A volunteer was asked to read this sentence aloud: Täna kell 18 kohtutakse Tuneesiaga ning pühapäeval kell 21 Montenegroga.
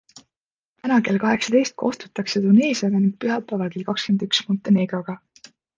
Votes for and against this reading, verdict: 0, 2, rejected